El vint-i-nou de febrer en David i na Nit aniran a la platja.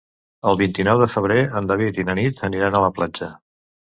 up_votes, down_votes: 2, 0